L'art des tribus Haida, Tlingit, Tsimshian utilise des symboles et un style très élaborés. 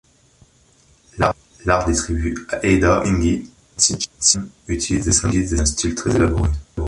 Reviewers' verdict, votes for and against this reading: rejected, 0, 2